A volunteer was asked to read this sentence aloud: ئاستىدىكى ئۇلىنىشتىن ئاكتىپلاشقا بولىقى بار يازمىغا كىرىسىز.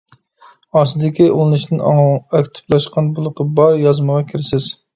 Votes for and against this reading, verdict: 0, 2, rejected